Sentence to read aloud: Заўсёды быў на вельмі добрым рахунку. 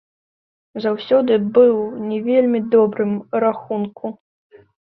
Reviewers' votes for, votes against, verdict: 0, 2, rejected